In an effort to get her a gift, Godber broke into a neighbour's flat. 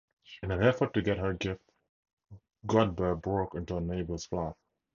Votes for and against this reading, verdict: 0, 2, rejected